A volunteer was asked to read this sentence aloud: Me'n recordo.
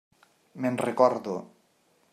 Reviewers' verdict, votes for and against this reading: accepted, 3, 0